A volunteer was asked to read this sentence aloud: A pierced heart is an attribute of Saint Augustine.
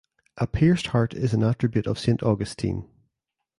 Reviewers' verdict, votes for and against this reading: accepted, 2, 0